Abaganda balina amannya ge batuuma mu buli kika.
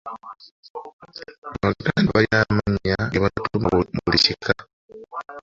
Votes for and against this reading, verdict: 0, 2, rejected